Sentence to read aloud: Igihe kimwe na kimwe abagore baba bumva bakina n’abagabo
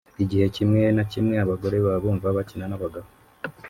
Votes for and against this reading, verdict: 0, 2, rejected